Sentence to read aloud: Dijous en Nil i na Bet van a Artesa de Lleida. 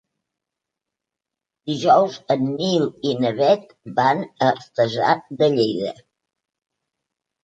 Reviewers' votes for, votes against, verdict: 2, 1, accepted